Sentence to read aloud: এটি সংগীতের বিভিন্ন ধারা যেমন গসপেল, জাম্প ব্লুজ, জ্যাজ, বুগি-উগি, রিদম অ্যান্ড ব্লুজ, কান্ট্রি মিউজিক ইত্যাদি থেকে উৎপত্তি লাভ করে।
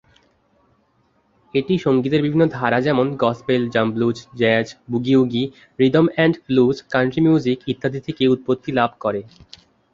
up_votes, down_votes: 11, 1